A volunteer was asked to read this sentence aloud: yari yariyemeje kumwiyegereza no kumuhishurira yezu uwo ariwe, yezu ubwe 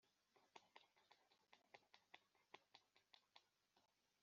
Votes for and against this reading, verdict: 0, 2, rejected